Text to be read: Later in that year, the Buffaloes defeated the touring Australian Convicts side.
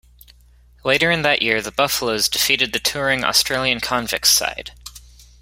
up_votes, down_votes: 2, 0